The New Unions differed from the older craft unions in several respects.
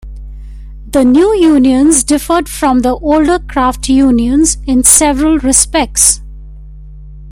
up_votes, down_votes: 1, 2